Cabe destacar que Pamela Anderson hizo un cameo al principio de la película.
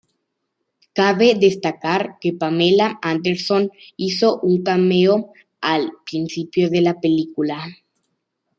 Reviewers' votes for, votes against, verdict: 2, 0, accepted